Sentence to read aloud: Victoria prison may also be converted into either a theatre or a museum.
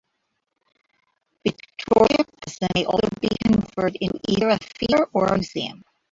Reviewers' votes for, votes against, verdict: 0, 2, rejected